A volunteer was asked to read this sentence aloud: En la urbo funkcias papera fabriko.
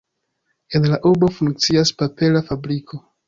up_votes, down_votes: 2, 0